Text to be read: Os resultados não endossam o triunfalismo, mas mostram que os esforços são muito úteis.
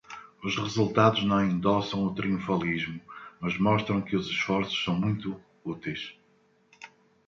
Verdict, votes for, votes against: accepted, 2, 0